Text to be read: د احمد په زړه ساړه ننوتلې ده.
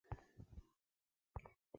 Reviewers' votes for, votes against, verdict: 0, 2, rejected